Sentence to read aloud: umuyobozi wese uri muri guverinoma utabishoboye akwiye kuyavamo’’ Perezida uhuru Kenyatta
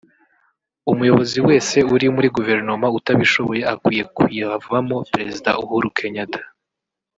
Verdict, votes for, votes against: rejected, 1, 2